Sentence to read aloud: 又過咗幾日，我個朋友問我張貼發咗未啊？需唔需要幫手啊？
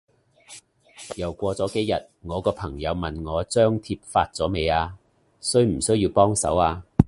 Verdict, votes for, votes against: accepted, 2, 0